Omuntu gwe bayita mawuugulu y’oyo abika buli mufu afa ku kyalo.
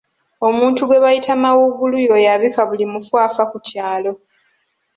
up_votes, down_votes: 2, 1